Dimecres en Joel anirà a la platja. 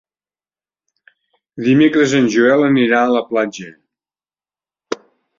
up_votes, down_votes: 3, 0